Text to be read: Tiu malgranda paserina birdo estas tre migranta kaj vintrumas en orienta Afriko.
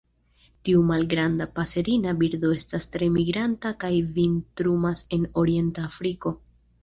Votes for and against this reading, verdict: 3, 0, accepted